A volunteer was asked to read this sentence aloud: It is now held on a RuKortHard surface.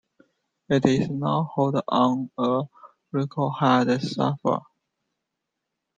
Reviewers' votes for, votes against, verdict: 0, 2, rejected